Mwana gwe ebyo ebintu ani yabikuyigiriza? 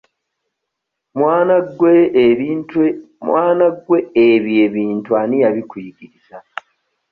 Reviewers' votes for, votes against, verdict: 0, 2, rejected